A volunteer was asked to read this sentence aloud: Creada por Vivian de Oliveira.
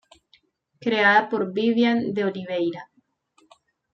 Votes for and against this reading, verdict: 1, 2, rejected